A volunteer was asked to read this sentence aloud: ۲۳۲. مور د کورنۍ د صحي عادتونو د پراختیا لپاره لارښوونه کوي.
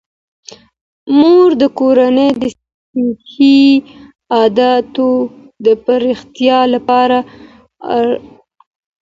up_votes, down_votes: 0, 2